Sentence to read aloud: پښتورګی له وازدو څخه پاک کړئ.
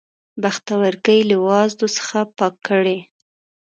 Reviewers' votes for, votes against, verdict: 0, 3, rejected